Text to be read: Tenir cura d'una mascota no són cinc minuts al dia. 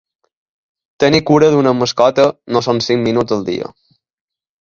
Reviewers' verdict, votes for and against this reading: accepted, 2, 0